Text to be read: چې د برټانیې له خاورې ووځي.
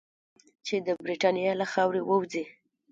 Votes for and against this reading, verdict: 2, 0, accepted